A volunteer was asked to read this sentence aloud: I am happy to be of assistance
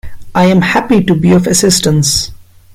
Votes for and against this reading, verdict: 2, 1, accepted